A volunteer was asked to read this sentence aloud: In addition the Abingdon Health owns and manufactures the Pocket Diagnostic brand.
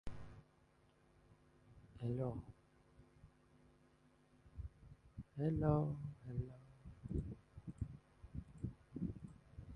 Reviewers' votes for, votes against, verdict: 0, 2, rejected